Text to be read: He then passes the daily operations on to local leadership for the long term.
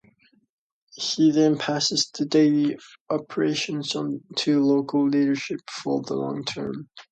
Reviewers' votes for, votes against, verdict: 2, 0, accepted